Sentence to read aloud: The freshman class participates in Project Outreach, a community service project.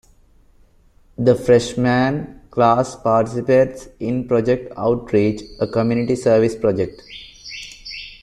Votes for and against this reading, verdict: 2, 0, accepted